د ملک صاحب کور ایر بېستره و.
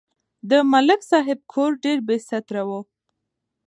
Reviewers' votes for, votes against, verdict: 2, 1, accepted